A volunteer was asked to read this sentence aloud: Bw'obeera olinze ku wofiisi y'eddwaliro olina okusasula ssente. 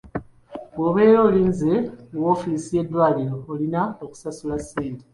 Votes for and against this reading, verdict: 1, 2, rejected